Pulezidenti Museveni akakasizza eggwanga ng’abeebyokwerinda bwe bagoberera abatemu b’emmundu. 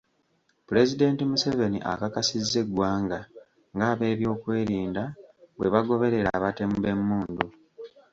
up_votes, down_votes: 2, 0